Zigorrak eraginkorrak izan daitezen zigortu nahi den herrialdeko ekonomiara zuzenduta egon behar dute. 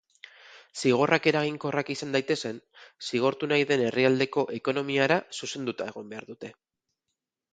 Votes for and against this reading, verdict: 6, 0, accepted